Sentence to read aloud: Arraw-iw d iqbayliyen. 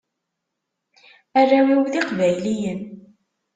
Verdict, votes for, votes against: accepted, 2, 0